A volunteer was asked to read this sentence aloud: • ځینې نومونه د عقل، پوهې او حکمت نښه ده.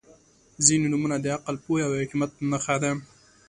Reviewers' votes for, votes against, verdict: 4, 0, accepted